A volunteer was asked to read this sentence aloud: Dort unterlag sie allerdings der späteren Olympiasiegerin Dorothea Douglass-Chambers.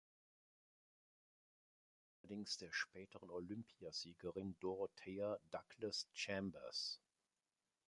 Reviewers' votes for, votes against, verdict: 0, 2, rejected